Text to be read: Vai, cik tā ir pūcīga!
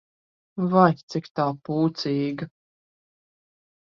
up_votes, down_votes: 0, 2